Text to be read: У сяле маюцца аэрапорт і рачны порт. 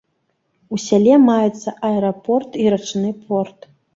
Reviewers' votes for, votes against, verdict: 2, 0, accepted